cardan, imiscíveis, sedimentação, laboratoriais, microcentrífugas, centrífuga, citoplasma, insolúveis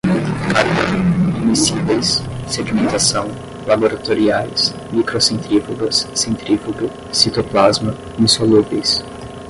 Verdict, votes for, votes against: accepted, 10, 5